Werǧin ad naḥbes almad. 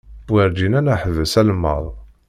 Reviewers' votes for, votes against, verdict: 0, 2, rejected